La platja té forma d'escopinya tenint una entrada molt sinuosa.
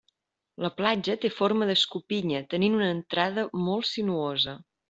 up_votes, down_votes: 2, 0